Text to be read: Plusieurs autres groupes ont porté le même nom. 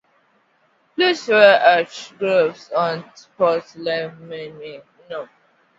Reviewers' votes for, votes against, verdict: 0, 2, rejected